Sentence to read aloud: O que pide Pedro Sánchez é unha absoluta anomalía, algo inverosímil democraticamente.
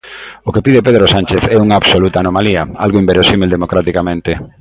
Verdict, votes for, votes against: accepted, 2, 0